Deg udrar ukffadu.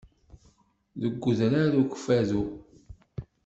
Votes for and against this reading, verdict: 2, 0, accepted